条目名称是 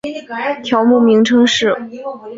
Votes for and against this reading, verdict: 3, 0, accepted